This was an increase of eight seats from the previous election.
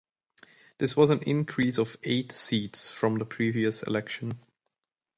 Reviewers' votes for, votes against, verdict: 2, 0, accepted